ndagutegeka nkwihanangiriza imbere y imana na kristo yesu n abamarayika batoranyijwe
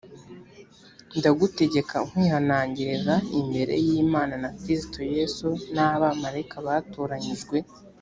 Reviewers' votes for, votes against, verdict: 2, 0, accepted